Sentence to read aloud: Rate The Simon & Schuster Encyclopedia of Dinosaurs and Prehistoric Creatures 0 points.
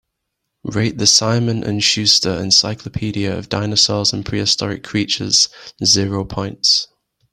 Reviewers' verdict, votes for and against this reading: rejected, 0, 2